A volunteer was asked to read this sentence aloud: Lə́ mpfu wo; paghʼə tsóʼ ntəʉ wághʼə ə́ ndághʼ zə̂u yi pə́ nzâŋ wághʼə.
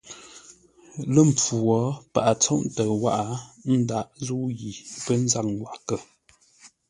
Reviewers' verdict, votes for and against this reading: accepted, 2, 0